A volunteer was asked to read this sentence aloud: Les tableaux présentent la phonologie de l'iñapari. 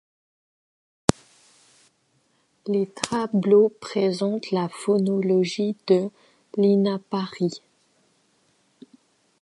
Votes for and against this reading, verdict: 0, 2, rejected